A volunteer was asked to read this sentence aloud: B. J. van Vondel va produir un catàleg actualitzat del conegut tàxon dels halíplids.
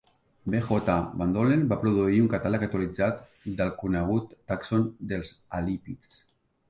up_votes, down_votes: 1, 2